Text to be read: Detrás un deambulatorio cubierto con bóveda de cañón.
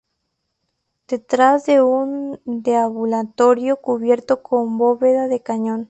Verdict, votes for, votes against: rejected, 0, 4